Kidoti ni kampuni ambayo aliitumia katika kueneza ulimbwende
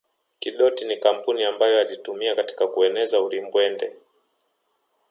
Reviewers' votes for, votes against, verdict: 0, 2, rejected